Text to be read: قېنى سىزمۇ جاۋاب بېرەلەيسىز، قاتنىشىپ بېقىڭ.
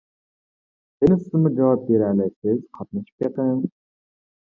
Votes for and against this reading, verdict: 1, 2, rejected